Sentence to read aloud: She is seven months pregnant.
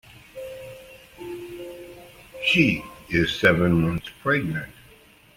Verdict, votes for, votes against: accepted, 2, 0